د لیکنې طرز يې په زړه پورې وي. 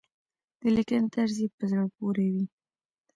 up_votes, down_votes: 2, 0